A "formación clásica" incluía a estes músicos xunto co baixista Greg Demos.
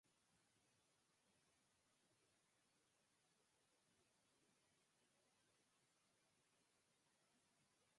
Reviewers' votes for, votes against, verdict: 0, 4, rejected